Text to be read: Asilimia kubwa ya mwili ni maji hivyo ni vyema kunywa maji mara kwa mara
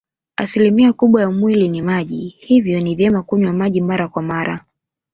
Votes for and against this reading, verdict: 7, 0, accepted